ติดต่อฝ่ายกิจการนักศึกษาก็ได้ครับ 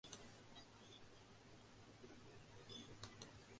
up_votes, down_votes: 0, 2